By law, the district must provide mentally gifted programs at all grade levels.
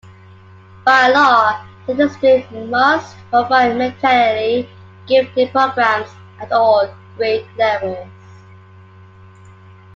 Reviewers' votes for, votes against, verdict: 2, 1, accepted